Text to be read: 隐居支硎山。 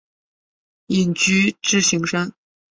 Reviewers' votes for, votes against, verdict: 2, 0, accepted